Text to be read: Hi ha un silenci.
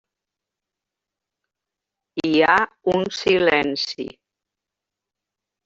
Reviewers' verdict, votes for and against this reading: rejected, 1, 2